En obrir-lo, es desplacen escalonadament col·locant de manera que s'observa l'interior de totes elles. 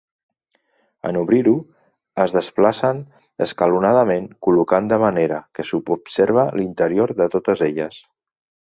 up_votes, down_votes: 1, 2